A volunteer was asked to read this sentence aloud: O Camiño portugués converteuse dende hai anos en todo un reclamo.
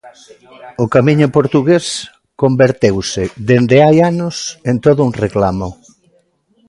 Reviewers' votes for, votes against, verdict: 0, 2, rejected